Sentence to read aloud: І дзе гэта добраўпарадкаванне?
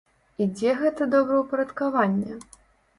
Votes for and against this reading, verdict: 2, 0, accepted